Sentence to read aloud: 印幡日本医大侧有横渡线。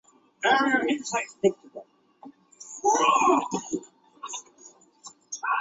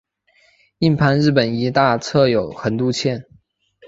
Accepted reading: second